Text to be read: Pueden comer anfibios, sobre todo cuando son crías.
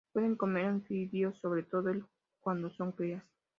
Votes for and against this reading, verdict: 2, 0, accepted